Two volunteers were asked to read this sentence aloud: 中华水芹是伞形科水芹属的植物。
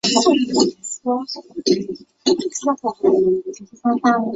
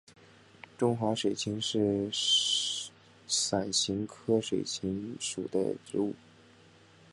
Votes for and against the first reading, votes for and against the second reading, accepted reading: 2, 2, 3, 0, second